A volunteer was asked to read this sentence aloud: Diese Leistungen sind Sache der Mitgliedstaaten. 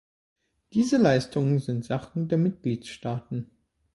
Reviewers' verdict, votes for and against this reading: rejected, 1, 2